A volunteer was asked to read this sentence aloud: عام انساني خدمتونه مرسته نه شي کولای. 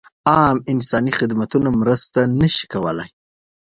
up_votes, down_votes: 2, 0